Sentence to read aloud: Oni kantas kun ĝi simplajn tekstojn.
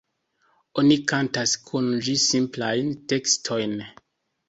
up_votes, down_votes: 2, 1